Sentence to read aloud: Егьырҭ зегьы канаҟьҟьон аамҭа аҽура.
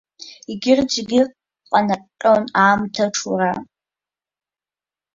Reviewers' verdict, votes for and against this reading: rejected, 0, 2